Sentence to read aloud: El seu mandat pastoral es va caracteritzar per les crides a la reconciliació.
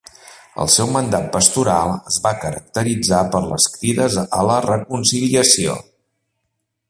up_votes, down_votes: 3, 0